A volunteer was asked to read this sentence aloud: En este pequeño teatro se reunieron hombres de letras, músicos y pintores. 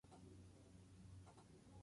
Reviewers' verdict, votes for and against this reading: rejected, 0, 4